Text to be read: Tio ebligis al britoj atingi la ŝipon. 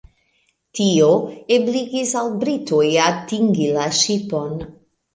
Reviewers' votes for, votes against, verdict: 2, 0, accepted